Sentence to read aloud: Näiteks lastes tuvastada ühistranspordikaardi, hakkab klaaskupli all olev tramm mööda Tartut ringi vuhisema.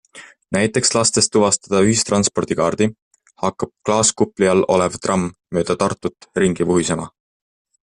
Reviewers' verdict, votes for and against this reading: accepted, 2, 0